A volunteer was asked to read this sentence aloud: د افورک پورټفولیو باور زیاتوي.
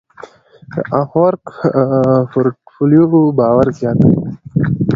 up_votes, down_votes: 2, 0